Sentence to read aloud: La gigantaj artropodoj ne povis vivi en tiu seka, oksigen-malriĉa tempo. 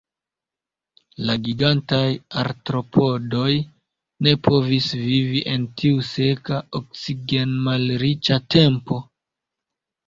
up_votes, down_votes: 1, 2